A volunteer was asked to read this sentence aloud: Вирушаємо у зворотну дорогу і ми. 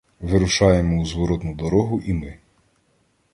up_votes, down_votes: 2, 0